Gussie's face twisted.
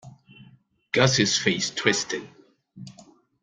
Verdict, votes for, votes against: accepted, 2, 0